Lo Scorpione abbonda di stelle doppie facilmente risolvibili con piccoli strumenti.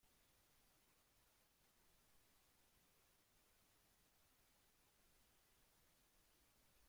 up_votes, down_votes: 1, 4